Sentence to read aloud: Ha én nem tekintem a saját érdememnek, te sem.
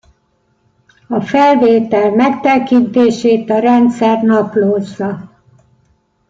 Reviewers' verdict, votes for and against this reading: rejected, 0, 2